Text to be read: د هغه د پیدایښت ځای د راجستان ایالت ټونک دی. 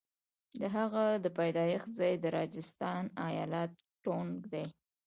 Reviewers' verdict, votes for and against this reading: accepted, 2, 0